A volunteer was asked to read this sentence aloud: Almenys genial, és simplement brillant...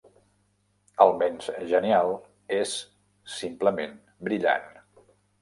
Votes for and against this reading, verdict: 2, 0, accepted